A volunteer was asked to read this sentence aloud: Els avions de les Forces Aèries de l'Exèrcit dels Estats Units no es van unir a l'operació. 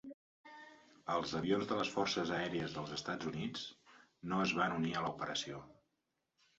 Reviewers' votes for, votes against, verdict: 1, 2, rejected